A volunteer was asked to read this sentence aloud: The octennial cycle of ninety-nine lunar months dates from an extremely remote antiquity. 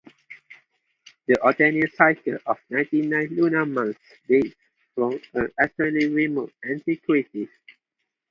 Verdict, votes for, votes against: accepted, 2, 0